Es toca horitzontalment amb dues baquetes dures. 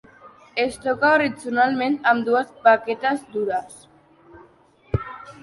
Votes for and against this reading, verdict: 0, 2, rejected